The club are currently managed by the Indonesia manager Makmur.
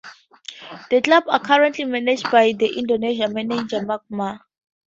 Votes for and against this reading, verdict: 2, 0, accepted